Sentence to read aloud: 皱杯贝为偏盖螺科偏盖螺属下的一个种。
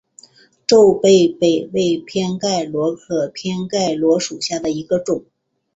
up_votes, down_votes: 4, 1